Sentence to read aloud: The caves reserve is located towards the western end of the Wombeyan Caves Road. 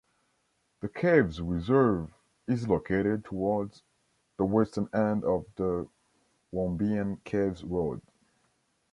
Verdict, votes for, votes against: accepted, 2, 0